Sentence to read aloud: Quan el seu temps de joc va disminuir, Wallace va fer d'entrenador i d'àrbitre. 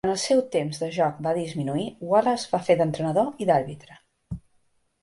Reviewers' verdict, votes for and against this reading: rejected, 0, 6